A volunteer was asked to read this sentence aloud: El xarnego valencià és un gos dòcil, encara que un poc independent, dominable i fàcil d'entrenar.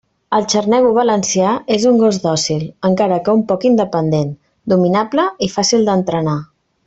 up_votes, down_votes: 2, 0